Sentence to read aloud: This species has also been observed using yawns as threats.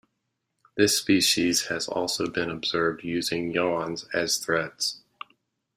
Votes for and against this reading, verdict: 2, 0, accepted